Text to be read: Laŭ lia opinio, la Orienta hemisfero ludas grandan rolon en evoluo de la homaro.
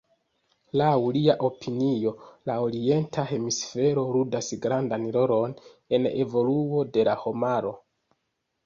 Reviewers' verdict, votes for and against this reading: accepted, 2, 0